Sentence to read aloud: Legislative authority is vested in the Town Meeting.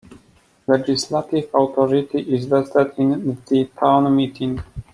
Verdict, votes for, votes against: accepted, 2, 0